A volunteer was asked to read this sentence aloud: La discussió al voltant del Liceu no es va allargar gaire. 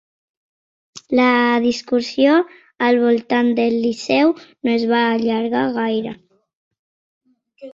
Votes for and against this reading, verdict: 2, 1, accepted